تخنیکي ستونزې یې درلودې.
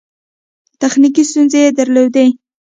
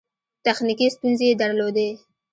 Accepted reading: second